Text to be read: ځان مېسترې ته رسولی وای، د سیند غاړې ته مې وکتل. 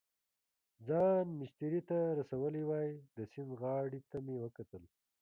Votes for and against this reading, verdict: 3, 1, accepted